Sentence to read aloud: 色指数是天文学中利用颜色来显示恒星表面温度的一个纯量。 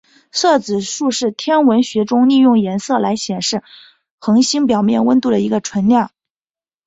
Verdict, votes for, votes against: rejected, 2, 2